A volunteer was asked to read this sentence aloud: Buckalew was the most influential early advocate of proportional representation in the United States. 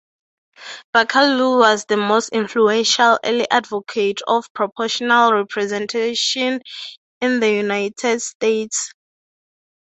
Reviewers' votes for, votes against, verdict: 0, 2, rejected